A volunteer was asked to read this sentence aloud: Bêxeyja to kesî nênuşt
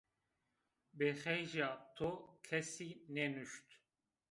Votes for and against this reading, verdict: 0, 2, rejected